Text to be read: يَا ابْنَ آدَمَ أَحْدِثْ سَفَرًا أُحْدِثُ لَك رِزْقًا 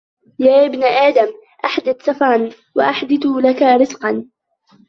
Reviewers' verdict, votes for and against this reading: rejected, 0, 2